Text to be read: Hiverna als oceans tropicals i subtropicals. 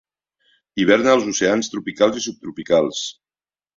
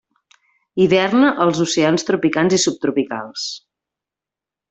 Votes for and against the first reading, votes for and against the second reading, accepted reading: 2, 0, 0, 2, first